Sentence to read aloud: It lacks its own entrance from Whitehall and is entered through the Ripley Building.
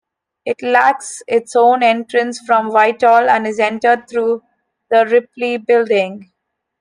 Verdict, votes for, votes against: accepted, 2, 0